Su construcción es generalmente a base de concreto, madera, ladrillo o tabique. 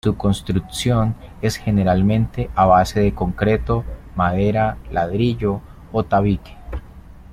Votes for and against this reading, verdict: 2, 0, accepted